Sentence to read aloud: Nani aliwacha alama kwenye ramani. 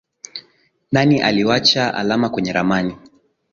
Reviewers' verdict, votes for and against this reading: rejected, 0, 2